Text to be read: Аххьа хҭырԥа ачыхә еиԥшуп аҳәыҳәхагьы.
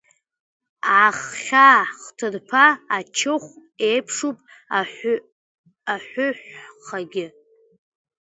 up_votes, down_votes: 0, 2